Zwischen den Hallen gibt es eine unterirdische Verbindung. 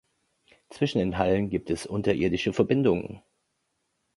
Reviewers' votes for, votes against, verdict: 0, 2, rejected